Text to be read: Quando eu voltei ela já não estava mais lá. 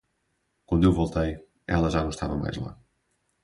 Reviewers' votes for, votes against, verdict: 4, 0, accepted